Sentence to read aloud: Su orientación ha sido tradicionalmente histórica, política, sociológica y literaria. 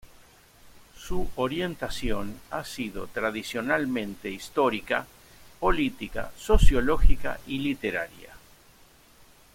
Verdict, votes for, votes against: accepted, 2, 0